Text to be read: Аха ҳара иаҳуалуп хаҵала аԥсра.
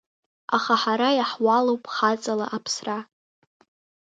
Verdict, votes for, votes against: accepted, 2, 0